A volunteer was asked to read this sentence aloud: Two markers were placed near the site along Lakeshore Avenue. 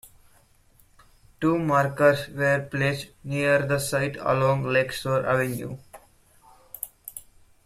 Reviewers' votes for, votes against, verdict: 3, 1, accepted